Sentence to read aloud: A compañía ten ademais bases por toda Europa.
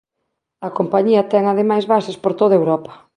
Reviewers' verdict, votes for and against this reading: accepted, 2, 0